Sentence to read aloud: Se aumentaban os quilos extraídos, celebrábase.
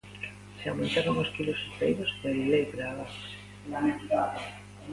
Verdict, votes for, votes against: rejected, 0, 2